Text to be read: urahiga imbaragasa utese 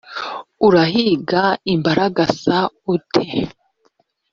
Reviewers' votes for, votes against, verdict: 1, 2, rejected